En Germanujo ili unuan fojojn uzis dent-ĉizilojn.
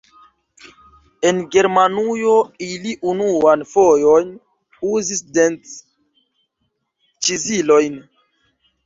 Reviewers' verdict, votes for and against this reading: rejected, 0, 2